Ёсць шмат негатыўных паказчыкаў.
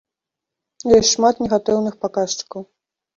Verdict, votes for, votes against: accepted, 2, 0